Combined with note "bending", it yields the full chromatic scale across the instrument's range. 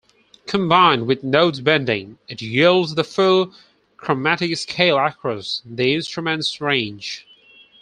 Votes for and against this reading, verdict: 4, 0, accepted